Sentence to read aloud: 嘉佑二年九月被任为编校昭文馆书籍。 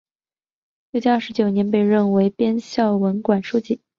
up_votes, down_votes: 0, 2